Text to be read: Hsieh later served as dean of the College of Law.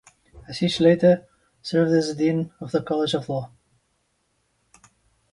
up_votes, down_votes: 1, 2